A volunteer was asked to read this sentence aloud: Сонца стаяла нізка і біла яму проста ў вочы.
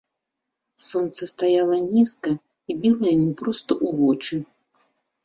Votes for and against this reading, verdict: 0, 2, rejected